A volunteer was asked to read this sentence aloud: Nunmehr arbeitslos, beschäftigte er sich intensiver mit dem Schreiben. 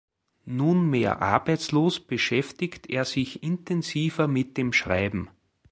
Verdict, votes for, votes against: rejected, 0, 2